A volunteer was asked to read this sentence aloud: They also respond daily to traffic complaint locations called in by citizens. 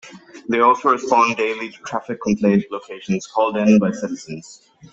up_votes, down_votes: 2, 0